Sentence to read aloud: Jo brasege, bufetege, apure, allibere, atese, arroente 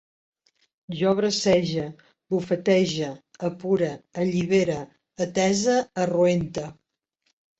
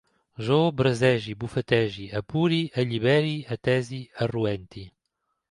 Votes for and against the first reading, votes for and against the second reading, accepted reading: 2, 0, 0, 2, first